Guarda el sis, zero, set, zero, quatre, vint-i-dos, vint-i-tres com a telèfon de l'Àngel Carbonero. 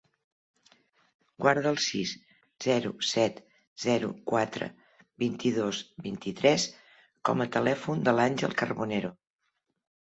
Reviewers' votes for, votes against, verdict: 3, 0, accepted